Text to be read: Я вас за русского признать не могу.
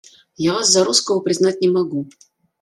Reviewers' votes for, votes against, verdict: 2, 1, accepted